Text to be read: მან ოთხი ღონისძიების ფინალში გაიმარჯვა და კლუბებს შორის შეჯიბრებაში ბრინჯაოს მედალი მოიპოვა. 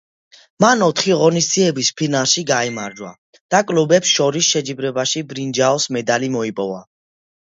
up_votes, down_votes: 2, 0